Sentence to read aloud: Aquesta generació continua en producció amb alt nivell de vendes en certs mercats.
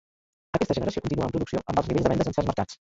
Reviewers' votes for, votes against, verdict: 0, 2, rejected